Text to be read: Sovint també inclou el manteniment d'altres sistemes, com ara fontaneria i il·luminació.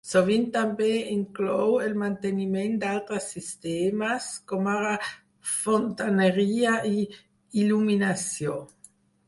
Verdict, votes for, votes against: accepted, 4, 0